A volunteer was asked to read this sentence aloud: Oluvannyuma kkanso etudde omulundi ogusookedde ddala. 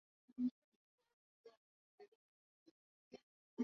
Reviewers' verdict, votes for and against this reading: rejected, 0, 2